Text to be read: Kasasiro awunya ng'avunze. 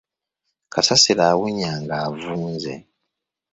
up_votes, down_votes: 2, 0